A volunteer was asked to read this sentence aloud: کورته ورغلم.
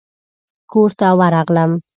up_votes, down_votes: 2, 0